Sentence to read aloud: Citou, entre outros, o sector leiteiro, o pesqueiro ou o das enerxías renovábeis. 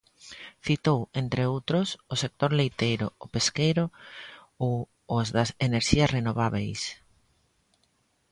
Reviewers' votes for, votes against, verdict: 0, 2, rejected